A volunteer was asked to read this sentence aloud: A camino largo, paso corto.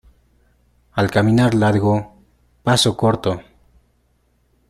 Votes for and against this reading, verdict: 0, 2, rejected